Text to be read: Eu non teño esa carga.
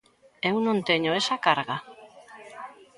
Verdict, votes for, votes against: rejected, 0, 2